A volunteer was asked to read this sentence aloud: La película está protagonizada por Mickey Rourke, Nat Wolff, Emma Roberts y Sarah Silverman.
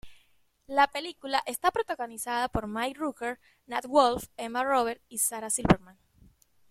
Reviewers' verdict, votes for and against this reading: rejected, 1, 2